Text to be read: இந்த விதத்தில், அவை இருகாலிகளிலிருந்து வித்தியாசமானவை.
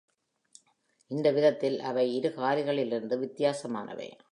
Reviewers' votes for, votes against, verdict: 2, 0, accepted